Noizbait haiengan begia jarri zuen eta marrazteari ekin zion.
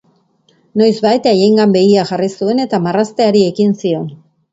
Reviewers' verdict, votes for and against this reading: accepted, 2, 0